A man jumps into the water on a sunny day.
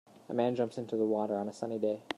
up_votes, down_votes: 2, 1